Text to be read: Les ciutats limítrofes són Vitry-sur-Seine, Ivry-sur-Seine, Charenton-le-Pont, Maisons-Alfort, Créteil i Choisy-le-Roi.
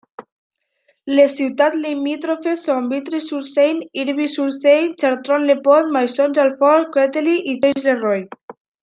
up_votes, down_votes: 1, 2